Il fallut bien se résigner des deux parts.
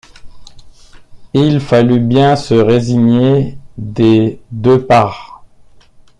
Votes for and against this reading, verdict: 2, 0, accepted